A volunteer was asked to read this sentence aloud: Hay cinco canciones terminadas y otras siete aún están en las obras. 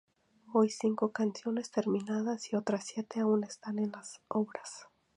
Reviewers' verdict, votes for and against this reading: rejected, 0, 2